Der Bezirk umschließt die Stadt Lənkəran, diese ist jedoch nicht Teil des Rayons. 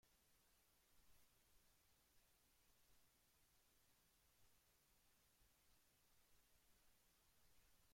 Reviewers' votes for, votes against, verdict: 0, 2, rejected